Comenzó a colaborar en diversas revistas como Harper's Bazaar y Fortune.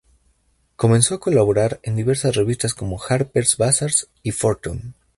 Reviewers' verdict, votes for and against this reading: rejected, 0, 2